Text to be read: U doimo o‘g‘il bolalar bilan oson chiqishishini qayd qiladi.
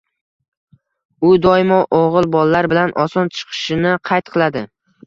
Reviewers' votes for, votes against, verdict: 1, 2, rejected